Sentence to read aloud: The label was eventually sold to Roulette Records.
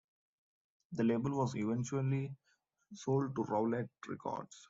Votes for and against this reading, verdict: 0, 2, rejected